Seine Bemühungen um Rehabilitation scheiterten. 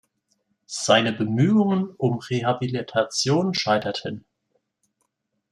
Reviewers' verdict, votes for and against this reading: accepted, 2, 0